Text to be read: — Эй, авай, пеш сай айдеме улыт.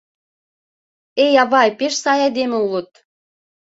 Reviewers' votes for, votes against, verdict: 2, 0, accepted